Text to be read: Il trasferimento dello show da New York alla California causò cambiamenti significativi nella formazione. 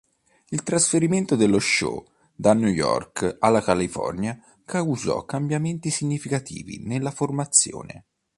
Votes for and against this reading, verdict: 3, 0, accepted